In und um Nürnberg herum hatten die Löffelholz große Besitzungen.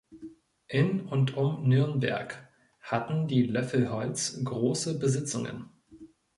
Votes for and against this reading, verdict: 0, 2, rejected